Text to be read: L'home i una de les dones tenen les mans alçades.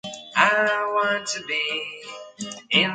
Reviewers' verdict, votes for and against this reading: rejected, 0, 3